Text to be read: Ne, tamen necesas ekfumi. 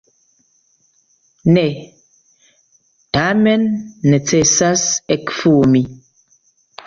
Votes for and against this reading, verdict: 2, 0, accepted